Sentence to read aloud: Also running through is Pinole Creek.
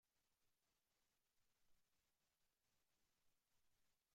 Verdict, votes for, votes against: rejected, 0, 2